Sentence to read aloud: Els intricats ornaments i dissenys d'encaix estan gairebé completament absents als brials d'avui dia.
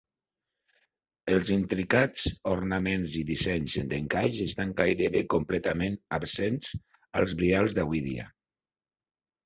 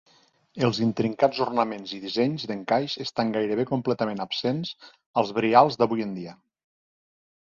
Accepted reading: first